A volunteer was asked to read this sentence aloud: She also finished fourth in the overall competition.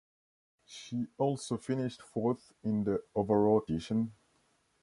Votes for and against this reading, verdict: 0, 2, rejected